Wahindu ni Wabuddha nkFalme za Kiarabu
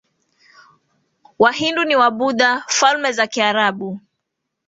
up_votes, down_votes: 3, 1